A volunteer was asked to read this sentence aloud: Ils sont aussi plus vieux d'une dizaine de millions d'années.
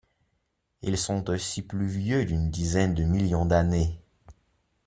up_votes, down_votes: 2, 0